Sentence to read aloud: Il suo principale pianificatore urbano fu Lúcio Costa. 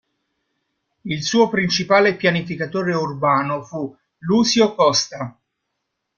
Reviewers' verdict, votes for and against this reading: accepted, 2, 0